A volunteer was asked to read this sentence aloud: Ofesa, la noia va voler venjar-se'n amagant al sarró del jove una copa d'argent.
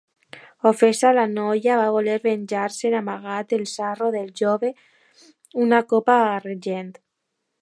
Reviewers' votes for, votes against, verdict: 0, 2, rejected